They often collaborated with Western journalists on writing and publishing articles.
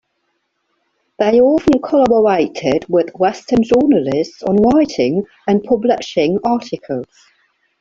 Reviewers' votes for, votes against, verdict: 3, 1, accepted